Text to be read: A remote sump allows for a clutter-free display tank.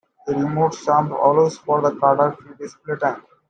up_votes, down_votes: 0, 2